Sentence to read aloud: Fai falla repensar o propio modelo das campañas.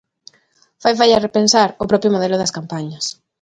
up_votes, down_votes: 2, 0